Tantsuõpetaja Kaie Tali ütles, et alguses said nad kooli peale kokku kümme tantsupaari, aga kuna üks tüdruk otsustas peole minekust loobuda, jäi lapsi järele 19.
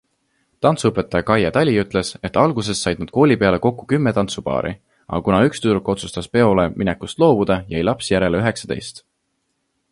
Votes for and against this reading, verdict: 0, 2, rejected